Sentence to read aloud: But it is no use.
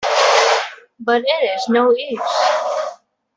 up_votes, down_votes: 1, 2